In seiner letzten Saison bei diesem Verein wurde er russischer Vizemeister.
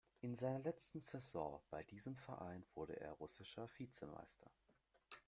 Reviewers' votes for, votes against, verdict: 2, 0, accepted